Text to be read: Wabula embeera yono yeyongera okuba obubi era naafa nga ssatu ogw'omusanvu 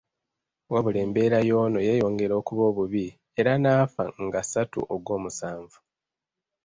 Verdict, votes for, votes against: rejected, 1, 2